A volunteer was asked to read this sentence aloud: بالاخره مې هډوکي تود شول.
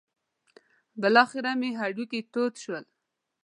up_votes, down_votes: 2, 0